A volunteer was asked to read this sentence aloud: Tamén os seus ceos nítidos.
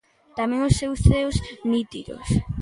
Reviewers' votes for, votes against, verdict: 0, 2, rejected